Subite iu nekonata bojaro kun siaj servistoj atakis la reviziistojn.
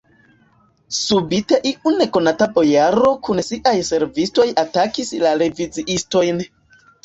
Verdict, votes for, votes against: accepted, 2, 1